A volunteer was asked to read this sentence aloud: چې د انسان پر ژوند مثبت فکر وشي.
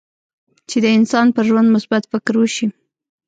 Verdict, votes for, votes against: rejected, 1, 2